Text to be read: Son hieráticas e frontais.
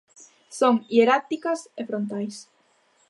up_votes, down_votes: 2, 0